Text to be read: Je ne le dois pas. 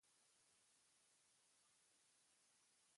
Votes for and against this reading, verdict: 0, 2, rejected